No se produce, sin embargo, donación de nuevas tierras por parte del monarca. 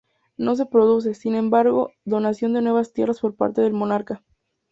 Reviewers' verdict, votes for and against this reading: accepted, 2, 0